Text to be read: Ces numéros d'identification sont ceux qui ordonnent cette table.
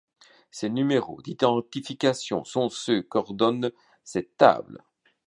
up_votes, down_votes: 1, 2